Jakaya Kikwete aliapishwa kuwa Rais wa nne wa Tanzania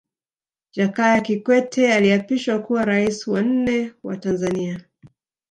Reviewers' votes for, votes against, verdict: 0, 2, rejected